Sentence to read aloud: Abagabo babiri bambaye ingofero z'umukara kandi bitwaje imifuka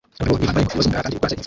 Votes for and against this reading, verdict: 0, 2, rejected